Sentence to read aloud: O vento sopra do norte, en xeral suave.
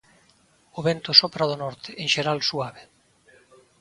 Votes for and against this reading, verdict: 2, 0, accepted